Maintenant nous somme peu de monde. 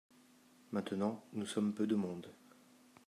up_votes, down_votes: 2, 0